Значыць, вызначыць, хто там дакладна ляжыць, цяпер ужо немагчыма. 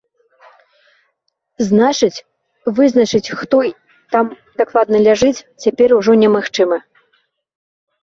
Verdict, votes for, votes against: rejected, 1, 3